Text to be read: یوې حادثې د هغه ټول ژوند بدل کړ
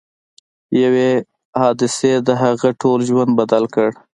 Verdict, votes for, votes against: rejected, 1, 2